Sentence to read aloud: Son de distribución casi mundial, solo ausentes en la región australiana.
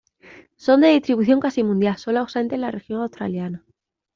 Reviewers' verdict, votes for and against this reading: rejected, 1, 2